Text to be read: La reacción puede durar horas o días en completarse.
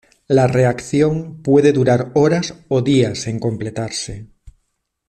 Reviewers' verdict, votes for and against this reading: accepted, 2, 0